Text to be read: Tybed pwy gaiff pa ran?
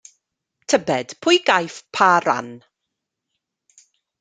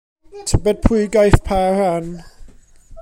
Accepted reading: first